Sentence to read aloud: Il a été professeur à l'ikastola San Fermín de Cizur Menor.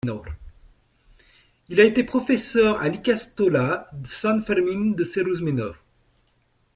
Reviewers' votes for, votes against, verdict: 1, 2, rejected